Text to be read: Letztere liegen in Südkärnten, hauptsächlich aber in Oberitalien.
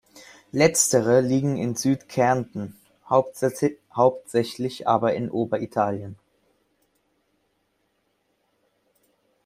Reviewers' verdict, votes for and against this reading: rejected, 0, 2